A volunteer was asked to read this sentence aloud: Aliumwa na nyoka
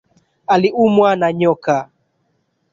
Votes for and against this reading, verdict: 1, 2, rejected